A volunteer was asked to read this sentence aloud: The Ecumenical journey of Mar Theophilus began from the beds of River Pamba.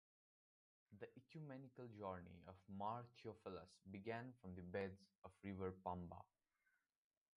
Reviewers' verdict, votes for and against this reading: accepted, 3, 1